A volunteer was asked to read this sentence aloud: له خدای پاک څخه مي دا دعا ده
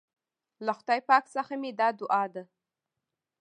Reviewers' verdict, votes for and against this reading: rejected, 1, 2